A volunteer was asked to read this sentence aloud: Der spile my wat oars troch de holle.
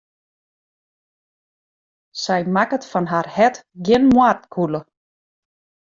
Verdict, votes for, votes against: rejected, 0, 2